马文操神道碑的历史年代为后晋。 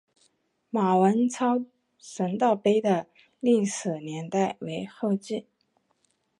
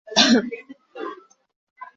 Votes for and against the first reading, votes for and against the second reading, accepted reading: 5, 0, 0, 2, first